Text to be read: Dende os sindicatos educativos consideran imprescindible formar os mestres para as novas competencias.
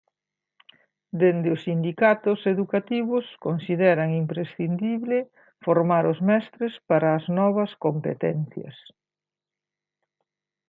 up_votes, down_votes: 2, 0